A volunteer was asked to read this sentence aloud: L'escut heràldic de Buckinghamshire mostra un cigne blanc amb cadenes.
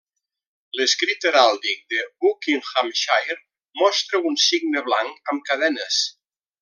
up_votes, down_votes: 0, 2